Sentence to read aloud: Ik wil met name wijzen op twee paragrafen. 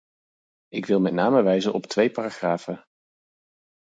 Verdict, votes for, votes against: accepted, 4, 0